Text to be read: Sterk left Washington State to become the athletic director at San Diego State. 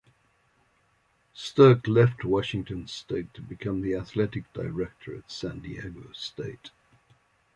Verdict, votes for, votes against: accepted, 2, 0